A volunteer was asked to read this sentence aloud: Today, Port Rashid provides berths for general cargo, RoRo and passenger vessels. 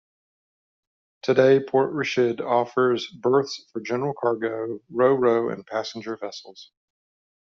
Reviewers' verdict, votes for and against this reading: rejected, 0, 2